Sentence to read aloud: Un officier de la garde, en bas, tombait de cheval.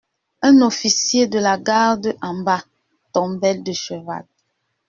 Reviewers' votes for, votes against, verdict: 2, 0, accepted